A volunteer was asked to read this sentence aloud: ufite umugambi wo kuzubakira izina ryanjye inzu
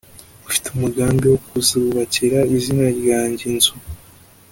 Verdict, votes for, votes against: accepted, 2, 0